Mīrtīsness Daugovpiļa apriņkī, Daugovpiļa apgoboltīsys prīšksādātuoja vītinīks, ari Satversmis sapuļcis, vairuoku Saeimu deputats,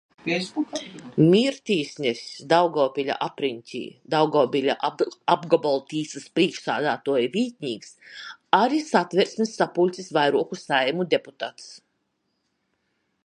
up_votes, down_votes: 0, 2